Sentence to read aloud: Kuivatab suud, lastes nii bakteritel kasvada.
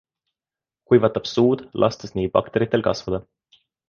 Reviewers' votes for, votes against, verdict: 2, 1, accepted